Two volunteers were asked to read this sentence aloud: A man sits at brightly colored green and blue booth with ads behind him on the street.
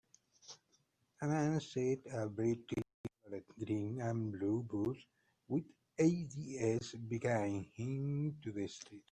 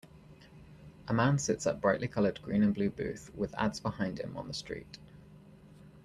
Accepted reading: second